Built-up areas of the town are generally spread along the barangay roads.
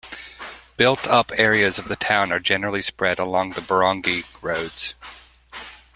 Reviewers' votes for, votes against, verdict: 2, 0, accepted